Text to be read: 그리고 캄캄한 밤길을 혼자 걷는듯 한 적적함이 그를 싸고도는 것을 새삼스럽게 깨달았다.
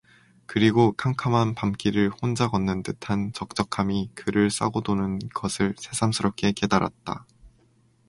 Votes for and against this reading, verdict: 2, 0, accepted